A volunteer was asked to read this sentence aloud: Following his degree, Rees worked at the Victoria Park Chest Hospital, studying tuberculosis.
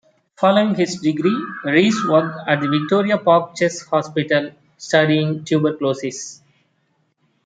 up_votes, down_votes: 2, 0